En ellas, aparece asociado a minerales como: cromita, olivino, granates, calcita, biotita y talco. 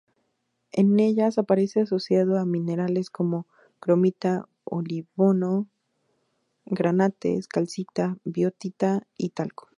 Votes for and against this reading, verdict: 2, 0, accepted